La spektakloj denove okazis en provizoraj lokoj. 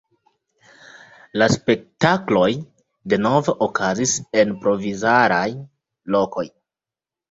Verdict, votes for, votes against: rejected, 0, 2